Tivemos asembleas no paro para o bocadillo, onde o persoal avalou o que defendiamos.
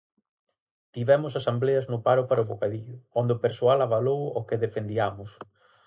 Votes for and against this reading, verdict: 2, 2, rejected